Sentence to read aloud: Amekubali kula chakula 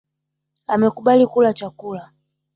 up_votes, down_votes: 3, 1